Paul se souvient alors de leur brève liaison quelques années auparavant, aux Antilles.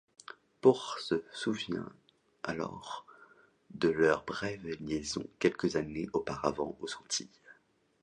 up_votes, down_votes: 2, 1